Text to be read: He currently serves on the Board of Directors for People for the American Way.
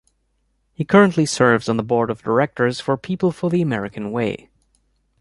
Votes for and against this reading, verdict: 3, 0, accepted